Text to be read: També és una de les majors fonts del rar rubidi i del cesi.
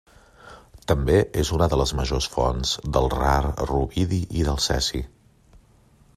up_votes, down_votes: 2, 0